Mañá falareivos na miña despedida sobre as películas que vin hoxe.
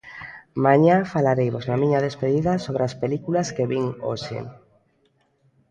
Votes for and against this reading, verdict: 2, 0, accepted